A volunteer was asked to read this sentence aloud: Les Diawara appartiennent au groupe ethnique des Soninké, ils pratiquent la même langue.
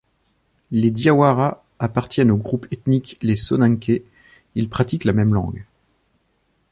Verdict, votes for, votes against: rejected, 0, 2